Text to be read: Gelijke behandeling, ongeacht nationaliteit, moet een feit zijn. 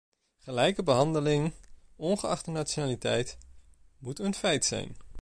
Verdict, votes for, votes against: rejected, 1, 2